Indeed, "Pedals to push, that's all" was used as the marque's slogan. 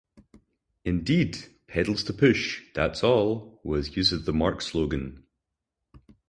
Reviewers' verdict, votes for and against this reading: accepted, 4, 0